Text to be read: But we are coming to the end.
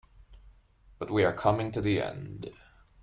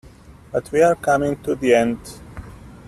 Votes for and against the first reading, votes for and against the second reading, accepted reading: 2, 0, 1, 2, first